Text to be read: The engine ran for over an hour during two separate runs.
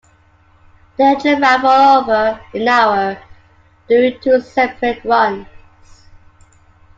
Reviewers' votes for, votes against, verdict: 2, 0, accepted